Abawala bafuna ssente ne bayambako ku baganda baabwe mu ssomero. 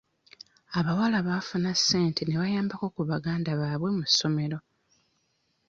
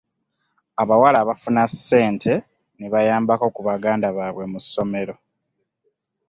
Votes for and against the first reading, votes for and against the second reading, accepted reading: 1, 2, 2, 0, second